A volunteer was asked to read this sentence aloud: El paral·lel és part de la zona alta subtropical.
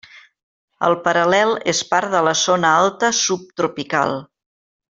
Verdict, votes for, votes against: rejected, 1, 2